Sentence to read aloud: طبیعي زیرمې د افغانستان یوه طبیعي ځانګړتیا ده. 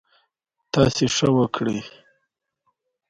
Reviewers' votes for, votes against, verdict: 1, 2, rejected